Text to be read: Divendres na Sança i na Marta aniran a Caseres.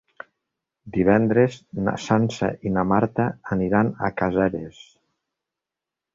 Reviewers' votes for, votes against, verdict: 2, 0, accepted